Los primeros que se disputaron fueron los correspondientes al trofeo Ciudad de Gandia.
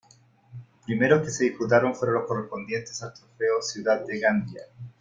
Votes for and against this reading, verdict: 2, 1, accepted